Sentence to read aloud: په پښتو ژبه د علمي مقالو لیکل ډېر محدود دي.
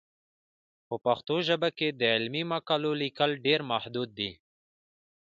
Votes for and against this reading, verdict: 2, 1, accepted